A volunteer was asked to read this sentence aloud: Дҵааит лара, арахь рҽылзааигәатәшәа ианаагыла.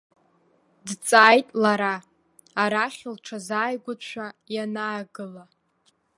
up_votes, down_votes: 2, 0